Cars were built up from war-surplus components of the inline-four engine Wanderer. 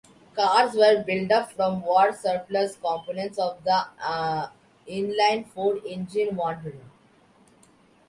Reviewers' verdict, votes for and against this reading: accepted, 2, 1